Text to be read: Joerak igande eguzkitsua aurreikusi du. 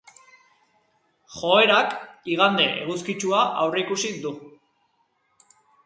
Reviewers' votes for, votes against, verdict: 2, 0, accepted